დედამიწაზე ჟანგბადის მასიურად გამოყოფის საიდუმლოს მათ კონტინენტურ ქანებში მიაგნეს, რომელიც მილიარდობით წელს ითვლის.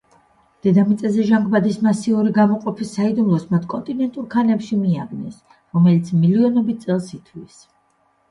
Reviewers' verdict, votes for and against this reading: rejected, 0, 2